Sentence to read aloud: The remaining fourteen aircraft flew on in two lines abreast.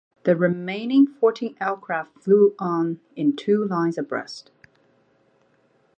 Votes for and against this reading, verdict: 2, 0, accepted